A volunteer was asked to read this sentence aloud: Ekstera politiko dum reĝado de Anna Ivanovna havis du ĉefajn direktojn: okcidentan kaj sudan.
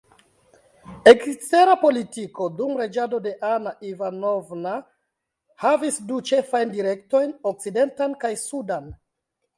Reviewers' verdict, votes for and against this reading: accepted, 2, 0